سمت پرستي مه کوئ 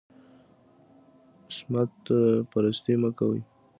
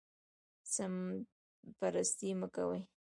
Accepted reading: first